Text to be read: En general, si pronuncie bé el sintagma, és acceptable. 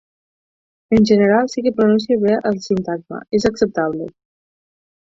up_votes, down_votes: 2, 6